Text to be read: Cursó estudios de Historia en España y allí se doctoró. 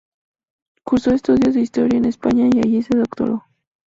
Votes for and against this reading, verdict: 2, 0, accepted